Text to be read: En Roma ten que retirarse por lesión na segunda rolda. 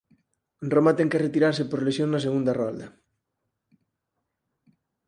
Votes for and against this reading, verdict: 2, 4, rejected